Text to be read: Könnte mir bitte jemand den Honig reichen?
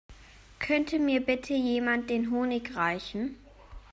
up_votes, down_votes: 2, 0